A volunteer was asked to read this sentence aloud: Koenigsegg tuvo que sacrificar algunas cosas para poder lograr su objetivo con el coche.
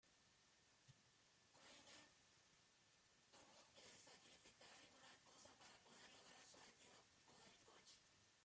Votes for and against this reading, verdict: 0, 2, rejected